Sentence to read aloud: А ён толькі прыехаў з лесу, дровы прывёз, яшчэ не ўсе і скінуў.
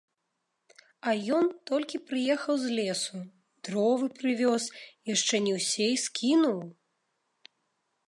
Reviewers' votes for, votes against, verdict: 2, 0, accepted